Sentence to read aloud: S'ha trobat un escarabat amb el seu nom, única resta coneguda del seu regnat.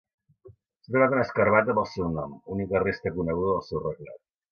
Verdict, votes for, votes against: rejected, 0, 2